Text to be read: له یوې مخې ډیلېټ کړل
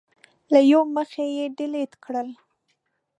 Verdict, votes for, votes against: accepted, 2, 1